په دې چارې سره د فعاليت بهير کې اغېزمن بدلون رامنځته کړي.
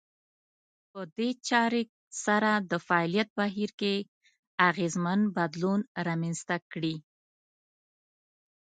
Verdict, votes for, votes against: rejected, 1, 2